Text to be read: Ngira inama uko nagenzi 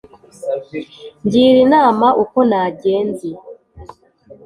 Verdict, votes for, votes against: accepted, 2, 0